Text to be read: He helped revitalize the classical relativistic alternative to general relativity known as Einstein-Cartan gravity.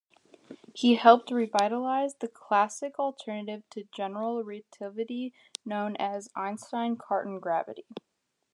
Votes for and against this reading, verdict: 0, 2, rejected